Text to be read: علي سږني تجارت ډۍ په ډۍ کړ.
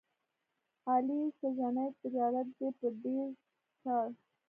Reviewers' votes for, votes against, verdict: 0, 2, rejected